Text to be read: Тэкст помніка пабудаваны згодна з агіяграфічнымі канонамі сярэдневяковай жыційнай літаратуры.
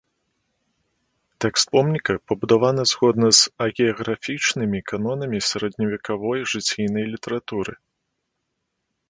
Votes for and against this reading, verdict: 1, 2, rejected